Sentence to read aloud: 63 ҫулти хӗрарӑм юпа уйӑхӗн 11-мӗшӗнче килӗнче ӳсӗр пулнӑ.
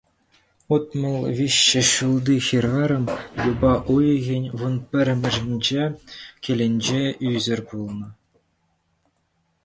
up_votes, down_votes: 0, 2